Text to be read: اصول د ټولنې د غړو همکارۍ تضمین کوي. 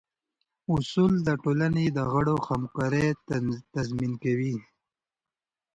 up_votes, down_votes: 2, 0